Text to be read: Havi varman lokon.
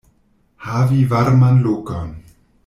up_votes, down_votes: 1, 2